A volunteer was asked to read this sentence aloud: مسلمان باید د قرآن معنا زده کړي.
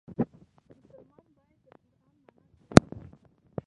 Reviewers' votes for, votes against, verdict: 0, 2, rejected